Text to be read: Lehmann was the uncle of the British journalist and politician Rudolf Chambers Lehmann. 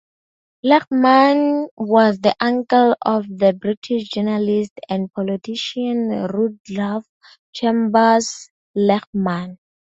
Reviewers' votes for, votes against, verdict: 2, 0, accepted